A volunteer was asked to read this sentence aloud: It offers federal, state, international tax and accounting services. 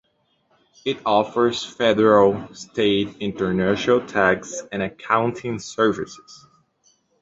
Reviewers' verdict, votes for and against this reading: accepted, 2, 0